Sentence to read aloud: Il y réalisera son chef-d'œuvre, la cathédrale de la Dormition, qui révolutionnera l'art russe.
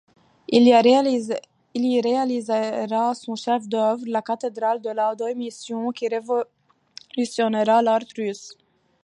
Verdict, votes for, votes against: rejected, 0, 2